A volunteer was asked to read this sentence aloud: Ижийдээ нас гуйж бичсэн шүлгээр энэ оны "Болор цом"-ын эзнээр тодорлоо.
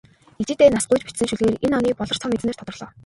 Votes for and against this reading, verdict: 0, 2, rejected